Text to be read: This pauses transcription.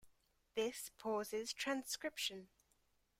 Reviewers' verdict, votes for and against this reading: accepted, 2, 0